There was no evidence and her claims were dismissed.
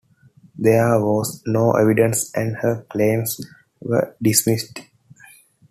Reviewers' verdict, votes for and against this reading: accepted, 2, 0